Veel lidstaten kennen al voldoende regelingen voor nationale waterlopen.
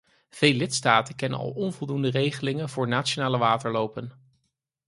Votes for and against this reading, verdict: 0, 4, rejected